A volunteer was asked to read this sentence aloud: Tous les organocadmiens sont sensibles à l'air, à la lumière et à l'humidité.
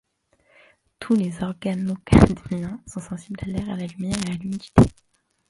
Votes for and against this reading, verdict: 0, 2, rejected